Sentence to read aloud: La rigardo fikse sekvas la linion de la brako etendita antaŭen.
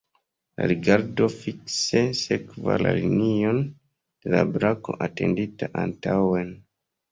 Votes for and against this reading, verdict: 1, 2, rejected